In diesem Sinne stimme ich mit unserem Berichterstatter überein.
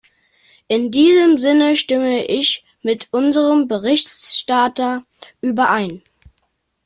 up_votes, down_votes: 1, 2